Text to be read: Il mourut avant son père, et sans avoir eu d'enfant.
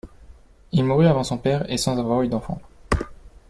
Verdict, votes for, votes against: accepted, 2, 1